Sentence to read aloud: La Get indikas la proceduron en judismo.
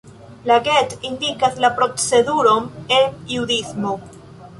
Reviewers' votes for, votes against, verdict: 2, 0, accepted